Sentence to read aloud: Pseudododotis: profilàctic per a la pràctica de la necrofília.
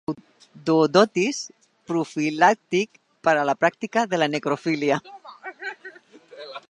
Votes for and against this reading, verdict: 0, 2, rejected